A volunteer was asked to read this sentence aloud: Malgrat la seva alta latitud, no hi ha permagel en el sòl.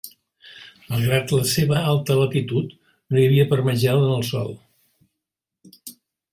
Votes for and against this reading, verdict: 0, 2, rejected